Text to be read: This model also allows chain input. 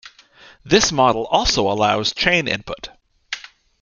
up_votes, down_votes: 2, 0